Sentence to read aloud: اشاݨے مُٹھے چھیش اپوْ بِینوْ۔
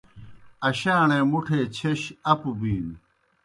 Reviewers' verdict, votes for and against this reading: accepted, 2, 0